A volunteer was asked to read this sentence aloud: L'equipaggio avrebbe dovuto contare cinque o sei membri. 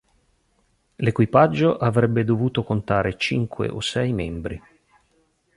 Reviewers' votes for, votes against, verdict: 2, 0, accepted